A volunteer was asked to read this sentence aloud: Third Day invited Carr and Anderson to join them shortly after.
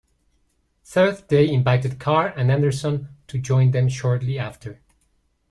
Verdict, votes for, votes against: rejected, 1, 2